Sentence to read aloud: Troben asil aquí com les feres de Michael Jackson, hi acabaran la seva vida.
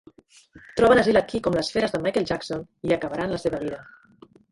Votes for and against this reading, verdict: 1, 2, rejected